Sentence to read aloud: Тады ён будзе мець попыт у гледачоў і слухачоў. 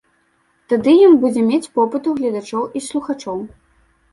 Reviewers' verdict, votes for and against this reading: accepted, 2, 1